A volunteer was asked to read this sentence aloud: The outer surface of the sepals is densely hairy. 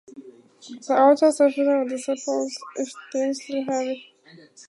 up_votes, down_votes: 2, 4